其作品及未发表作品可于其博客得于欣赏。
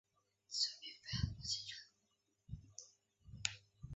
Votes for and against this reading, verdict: 0, 2, rejected